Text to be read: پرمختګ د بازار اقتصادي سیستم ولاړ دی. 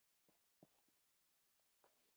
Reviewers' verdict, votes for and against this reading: accepted, 2, 0